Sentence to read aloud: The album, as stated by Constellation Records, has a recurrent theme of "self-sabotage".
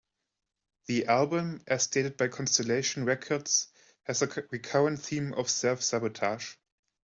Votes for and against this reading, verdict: 0, 2, rejected